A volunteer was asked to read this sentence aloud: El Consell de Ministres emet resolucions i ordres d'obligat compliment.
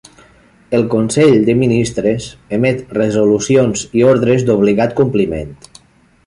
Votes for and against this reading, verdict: 3, 0, accepted